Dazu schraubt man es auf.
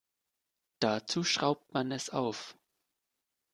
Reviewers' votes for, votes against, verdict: 2, 0, accepted